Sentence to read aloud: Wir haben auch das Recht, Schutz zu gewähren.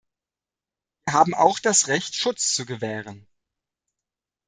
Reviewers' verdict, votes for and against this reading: rejected, 0, 2